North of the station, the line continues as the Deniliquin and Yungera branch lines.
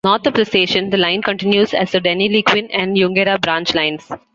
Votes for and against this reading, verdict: 2, 0, accepted